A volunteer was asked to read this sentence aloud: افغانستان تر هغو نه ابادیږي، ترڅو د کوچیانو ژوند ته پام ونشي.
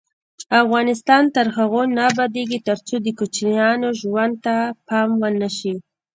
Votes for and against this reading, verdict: 1, 2, rejected